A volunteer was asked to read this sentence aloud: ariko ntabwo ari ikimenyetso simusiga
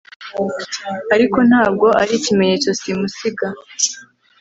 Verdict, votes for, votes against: accepted, 2, 0